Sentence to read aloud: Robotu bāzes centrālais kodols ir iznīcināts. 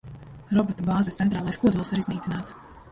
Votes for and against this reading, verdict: 0, 2, rejected